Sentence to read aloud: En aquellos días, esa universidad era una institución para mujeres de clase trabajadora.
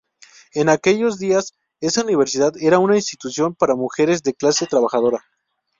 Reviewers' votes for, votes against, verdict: 2, 0, accepted